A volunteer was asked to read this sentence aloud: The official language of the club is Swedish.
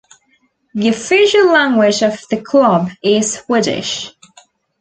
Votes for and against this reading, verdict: 2, 0, accepted